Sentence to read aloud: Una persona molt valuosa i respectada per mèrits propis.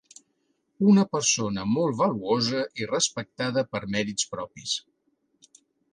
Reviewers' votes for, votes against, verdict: 3, 0, accepted